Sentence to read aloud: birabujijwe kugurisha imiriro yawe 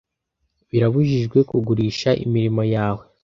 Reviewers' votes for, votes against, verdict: 0, 2, rejected